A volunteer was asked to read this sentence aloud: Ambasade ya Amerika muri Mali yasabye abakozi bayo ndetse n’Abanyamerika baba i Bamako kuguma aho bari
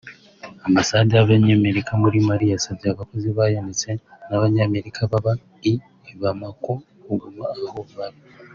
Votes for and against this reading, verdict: 2, 4, rejected